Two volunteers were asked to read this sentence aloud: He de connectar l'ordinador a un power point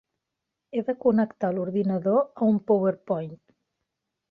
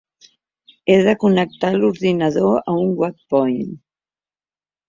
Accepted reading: first